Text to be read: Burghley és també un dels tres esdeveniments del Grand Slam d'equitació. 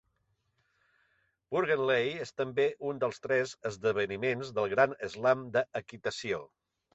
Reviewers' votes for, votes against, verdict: 0, 2, rejected